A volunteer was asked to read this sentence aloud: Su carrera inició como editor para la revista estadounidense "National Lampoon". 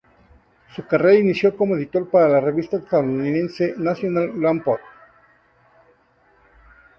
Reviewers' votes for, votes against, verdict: 2, 0, accepted